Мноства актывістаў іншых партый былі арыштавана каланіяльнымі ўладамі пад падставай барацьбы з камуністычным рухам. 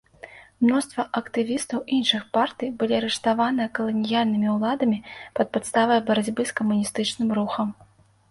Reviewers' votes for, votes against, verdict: 2, 0, accepted